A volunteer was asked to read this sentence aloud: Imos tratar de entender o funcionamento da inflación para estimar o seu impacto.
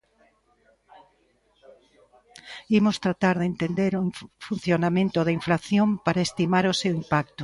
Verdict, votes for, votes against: rejected, 0, 2